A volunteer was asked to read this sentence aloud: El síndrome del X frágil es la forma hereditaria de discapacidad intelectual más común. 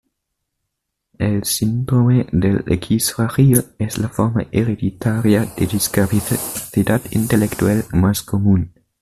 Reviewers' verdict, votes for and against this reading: rejected, 1, 2